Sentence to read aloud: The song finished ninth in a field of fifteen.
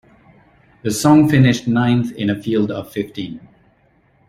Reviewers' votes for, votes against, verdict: 2, 0, accepted